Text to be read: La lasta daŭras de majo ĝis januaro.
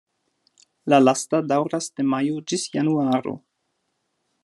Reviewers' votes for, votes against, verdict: 2, 0, accepted